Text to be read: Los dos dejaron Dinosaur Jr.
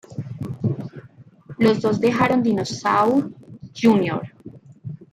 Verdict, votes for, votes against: rejected, 1, 2